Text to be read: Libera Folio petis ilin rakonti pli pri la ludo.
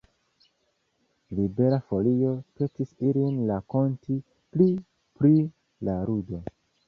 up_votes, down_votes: 2, 0